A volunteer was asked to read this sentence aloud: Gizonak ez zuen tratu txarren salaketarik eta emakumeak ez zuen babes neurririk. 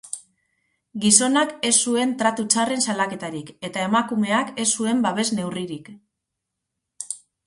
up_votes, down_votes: 2, 2